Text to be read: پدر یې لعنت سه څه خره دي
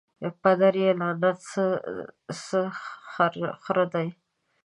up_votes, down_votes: 1, 2